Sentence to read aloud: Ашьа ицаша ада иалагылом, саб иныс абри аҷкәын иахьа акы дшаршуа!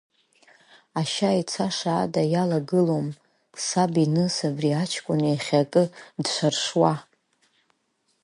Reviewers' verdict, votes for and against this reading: rejected, 1, 5